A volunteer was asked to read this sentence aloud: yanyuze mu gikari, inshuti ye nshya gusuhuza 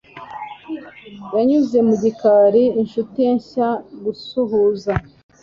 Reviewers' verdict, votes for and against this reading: accepted, 2, 0